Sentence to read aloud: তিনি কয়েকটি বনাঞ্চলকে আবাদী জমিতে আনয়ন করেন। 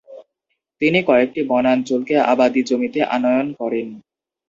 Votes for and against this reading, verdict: 2, 0, accepted